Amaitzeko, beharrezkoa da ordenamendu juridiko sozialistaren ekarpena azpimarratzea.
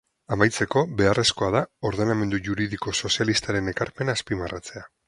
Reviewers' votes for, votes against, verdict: 8, 0, accepted